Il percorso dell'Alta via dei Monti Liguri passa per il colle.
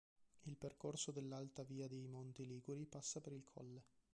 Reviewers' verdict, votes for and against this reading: rejected, 0, 2